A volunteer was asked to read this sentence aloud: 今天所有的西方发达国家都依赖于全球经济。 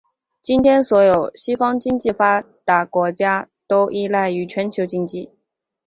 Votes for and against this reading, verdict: 2, 1, accepted